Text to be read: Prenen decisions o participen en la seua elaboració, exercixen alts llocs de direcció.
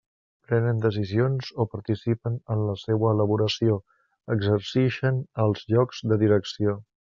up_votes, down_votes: 2, 1